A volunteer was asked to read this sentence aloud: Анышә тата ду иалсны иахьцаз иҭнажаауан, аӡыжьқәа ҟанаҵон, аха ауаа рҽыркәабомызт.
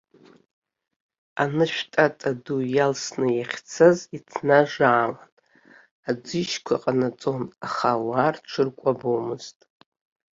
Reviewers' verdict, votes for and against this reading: rejected, 1, 2